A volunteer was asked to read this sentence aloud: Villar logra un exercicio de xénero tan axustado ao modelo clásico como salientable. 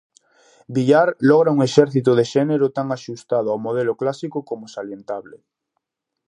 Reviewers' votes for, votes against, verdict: 0, 2, rejected